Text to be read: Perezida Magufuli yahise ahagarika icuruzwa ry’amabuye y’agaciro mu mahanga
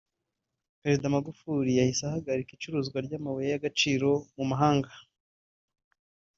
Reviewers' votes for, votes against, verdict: 0, 2, rejected